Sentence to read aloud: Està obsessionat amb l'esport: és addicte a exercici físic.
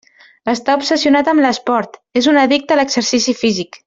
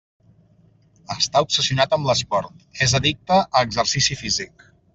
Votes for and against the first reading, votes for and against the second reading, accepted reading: 0, 2, 3, 0, second